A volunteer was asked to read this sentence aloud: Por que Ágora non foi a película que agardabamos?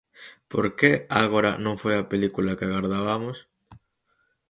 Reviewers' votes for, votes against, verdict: 4, 0, accepted